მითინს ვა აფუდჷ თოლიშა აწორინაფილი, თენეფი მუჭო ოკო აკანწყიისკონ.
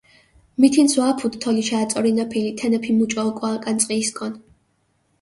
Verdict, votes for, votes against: accepted, 2, 0